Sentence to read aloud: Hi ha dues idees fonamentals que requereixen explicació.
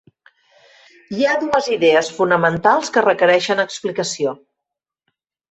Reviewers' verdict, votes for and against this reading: accepted, 6, 0